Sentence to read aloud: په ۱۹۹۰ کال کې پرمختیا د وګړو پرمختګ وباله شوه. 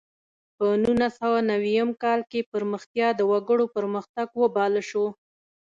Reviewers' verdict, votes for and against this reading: rejected, 0, 2